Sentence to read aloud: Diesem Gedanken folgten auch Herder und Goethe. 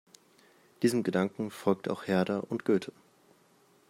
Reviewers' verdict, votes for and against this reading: rejected, 1, 2